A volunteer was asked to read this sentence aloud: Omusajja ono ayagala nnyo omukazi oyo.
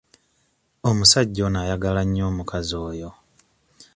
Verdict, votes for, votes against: accepted, 2, 0